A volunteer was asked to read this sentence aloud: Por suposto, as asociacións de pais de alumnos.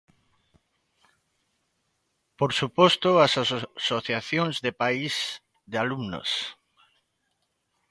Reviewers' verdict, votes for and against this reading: rejected, 0, 2